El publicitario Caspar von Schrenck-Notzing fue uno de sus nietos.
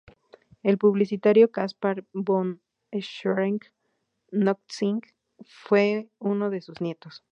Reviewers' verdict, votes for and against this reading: rejected, 2, 2